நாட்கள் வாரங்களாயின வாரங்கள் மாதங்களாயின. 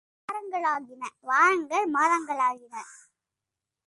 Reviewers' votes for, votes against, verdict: 0, 2, rejected